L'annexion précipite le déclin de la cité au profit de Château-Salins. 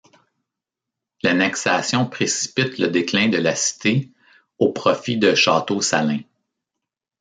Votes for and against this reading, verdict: 1, 3, rejected